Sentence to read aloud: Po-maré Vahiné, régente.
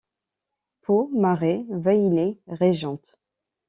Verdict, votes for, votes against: accepted, 2, 0